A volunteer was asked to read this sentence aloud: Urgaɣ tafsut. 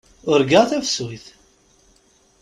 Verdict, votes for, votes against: accepted, 2, 0